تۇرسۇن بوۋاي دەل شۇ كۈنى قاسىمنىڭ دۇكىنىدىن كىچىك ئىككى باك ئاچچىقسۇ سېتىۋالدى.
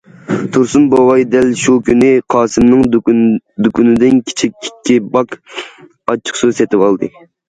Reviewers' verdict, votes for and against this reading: rejected, 0, 2